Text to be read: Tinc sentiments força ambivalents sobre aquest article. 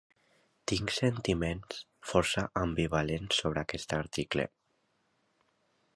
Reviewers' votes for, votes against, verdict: 2, 0, accepted